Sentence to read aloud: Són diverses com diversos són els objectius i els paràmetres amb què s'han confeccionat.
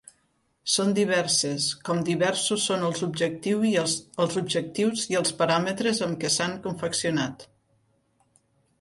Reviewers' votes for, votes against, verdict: 0, 2, rejected